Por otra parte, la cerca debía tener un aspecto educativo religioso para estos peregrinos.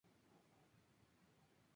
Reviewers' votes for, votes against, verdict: 0, 2, rejected